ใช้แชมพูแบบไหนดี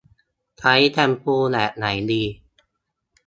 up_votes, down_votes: 2, 0